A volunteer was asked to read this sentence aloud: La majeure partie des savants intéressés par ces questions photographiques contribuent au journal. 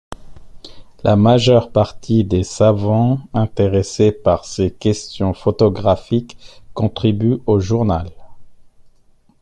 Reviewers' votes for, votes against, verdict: 2, 0, accepted